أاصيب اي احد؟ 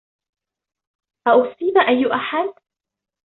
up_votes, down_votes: 2, 0